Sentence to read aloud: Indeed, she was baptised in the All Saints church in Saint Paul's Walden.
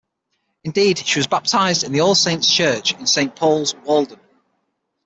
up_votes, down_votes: 6, 3